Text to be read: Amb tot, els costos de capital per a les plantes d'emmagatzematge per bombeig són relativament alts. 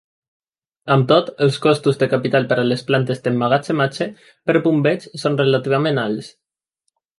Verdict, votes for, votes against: accepted, 2, 0